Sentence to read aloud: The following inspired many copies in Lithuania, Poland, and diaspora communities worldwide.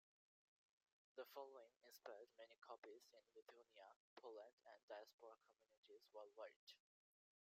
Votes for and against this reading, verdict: 1, 2, rejected